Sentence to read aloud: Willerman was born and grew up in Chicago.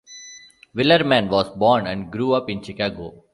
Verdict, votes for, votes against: rejected, 1, 2